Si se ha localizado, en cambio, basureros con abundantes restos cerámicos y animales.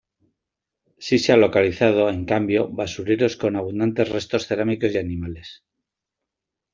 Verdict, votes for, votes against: accepted, 2, 0